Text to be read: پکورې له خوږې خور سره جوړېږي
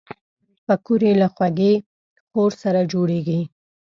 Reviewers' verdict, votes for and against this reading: accepted, 2, 0